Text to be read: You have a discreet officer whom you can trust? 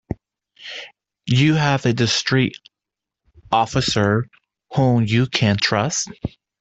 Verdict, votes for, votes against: rejected, 0, 2